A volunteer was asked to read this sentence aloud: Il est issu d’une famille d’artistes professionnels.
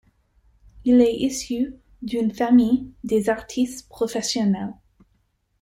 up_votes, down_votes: 2, 0